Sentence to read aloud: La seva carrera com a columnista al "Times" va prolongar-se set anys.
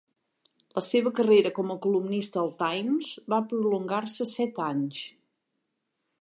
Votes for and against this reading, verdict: 4, 0, accepted